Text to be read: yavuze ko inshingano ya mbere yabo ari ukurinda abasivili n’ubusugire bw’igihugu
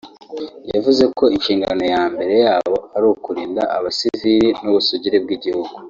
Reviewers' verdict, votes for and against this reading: rejected, 1, 2